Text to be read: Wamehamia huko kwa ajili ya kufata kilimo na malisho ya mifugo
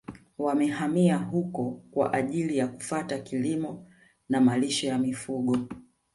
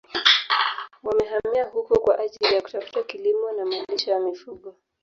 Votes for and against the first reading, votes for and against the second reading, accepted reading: 2, 0, 1, 2, first